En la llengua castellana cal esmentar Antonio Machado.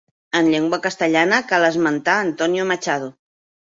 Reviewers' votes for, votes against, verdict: 1, 2, rejected